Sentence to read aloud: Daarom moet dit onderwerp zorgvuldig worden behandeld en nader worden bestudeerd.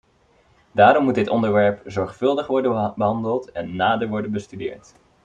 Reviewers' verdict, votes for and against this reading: rejected, 1, 2